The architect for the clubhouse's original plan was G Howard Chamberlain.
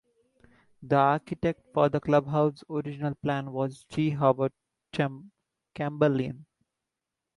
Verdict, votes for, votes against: accepted, 2, 1